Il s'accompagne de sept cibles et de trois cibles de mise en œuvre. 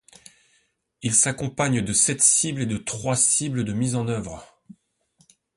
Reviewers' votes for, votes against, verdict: 2, 0, accepted